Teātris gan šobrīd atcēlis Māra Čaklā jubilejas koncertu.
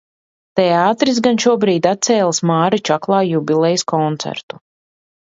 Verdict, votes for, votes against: accepted, 2, 0